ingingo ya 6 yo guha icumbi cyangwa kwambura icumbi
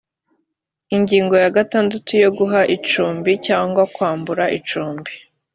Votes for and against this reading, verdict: 0, 2, rejected